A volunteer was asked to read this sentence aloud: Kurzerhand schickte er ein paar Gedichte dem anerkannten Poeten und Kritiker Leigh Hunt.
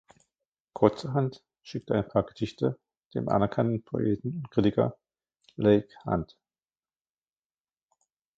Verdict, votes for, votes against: rejected, 0, 2